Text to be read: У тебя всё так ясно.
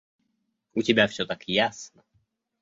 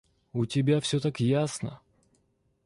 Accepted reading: first